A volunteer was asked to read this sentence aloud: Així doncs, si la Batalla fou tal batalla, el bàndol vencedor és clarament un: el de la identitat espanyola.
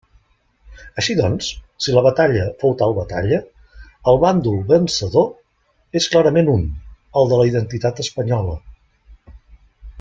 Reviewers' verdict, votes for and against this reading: accepted, 3, 0